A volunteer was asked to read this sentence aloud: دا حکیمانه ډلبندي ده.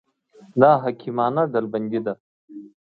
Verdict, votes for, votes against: accepted, 2, 0